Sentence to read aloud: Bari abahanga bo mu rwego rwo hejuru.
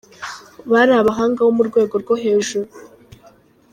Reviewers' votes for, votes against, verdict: 2, 0, accepted